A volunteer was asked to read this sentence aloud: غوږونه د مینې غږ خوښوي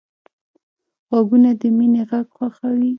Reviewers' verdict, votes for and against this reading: rejected, 1, 2